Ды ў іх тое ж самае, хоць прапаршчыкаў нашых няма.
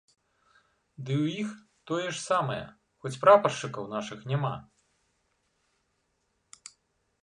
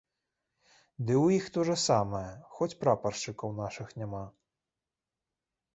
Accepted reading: first